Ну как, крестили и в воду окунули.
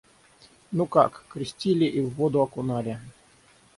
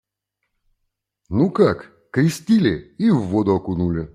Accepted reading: second